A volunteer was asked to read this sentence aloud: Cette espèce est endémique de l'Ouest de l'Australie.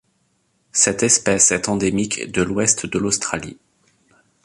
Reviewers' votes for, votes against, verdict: 2, 0, accepted